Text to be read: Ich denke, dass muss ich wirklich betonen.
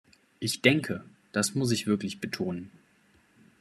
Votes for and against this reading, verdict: 2, 0, accepted